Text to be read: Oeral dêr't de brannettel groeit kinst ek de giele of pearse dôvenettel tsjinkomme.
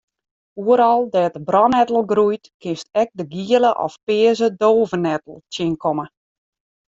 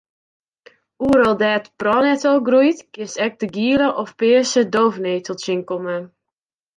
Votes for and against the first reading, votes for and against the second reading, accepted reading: 2, 1, 0, 2, first